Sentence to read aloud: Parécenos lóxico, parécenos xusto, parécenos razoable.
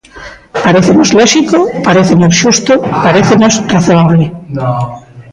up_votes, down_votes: 0, 2